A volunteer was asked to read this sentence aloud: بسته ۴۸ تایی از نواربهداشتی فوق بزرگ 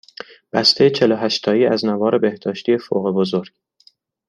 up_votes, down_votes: 0, 2